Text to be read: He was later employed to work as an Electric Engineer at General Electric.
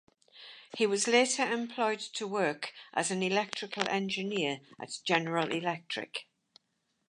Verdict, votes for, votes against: rejected, 2, 2